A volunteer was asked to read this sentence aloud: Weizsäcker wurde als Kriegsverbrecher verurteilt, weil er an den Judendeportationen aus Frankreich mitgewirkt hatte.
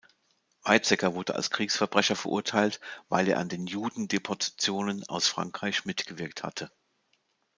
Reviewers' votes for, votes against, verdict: 2, 1, accepted